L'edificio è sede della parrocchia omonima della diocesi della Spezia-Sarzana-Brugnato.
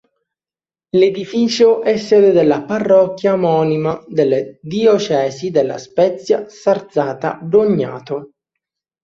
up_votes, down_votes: 0, 2